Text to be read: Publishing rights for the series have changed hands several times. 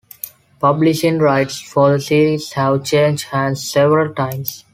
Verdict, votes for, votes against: accepted, 2, 0